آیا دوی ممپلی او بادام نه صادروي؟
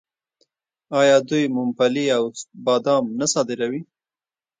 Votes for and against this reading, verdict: 0, 2, rejected